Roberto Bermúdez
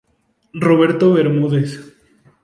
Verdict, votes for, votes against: accepted, 2, 0